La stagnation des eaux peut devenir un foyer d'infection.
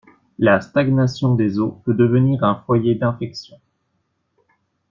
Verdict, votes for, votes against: accepted, 2, 0